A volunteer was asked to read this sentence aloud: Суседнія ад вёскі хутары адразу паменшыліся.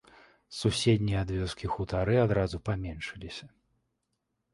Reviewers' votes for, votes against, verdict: 2, 1, accepted